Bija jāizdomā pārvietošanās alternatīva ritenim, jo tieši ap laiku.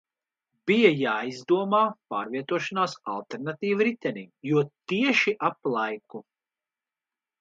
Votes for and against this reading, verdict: 2, 1, accepted